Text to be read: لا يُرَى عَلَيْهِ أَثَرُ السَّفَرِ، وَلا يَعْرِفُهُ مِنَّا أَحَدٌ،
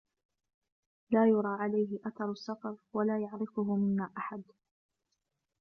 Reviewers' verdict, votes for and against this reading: accepted, 2, 0